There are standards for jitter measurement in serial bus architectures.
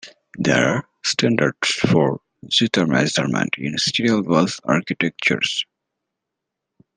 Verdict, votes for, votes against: rejected, 1, 2